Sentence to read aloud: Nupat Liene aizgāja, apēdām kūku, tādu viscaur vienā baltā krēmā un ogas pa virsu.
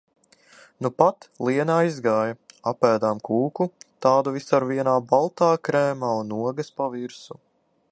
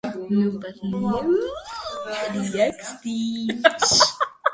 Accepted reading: first